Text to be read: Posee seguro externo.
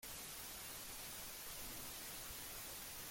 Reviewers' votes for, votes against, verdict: 0, 2, rejected